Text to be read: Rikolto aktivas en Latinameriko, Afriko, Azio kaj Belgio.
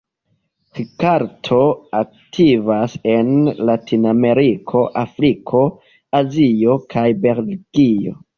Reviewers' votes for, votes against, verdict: 1, 2, rejected